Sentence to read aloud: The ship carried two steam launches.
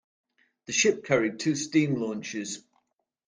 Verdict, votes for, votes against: accepted, 2, 0